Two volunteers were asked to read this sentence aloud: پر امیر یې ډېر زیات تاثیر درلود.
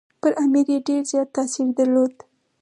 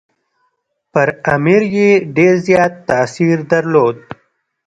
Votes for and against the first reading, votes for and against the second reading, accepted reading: 4, 0, 1, 2, first